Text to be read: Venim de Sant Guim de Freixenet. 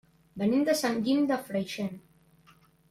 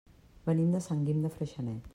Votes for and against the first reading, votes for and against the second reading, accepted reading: 0, 2, 3, 0, second